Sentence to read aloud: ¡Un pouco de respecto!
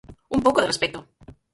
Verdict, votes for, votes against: rejected, 0, 4